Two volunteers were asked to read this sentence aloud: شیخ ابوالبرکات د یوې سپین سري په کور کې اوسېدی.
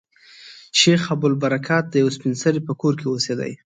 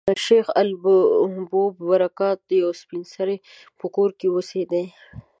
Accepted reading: first